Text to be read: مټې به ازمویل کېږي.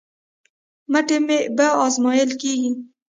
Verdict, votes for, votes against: rejected, 1, 2